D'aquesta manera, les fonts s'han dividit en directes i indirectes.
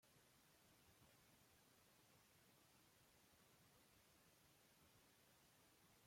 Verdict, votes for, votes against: rejected, 0, 2